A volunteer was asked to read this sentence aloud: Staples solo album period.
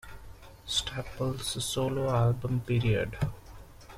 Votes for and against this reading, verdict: 2, 1, accepted